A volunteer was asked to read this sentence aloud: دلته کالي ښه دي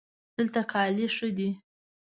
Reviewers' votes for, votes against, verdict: 2, 0, accepted